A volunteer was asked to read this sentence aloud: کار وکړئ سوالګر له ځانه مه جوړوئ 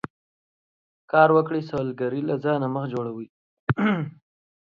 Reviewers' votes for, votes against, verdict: 2, 3, rejected